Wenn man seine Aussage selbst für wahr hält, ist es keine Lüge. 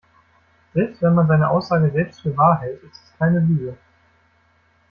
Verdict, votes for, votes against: rejected, 0, 2